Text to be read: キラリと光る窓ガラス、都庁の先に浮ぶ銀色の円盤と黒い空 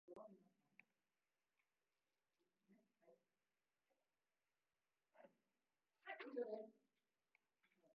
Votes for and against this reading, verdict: 0, 2, rejected